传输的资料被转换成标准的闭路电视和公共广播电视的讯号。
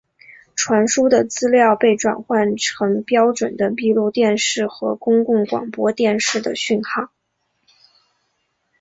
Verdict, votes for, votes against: accepted, 2, 0